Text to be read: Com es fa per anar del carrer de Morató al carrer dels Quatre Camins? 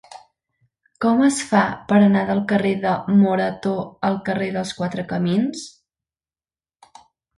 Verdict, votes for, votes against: accepted, 3, 0